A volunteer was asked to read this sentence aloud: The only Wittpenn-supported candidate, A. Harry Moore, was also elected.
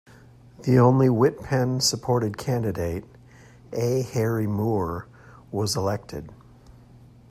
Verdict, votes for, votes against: rejected, 0, 2